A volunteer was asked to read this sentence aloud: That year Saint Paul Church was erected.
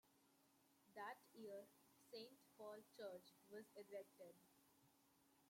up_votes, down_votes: 1, 2